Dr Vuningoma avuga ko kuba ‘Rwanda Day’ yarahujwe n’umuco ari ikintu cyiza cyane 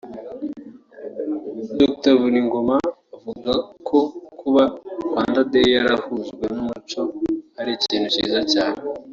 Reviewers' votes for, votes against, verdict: 0, 2, rejected